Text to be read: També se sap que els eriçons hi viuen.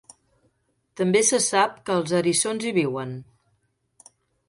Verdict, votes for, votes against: accepted, 2, 0